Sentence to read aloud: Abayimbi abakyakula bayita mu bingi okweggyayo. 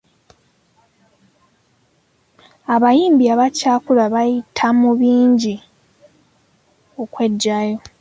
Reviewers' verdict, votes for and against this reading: accepted, 2, 0